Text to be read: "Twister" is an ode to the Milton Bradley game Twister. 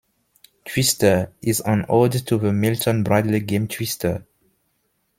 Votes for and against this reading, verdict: 2, 0, accepted